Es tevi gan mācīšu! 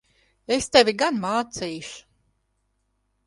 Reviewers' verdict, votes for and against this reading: accepted, 2, 0